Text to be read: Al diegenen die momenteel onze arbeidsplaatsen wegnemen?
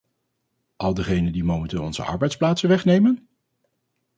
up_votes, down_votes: 2, 2